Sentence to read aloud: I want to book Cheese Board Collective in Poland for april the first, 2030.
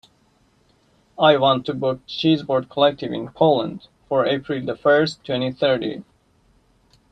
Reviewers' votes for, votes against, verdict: 0, 2, rejected